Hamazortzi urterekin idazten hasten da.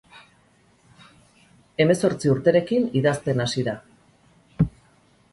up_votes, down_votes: 0, 4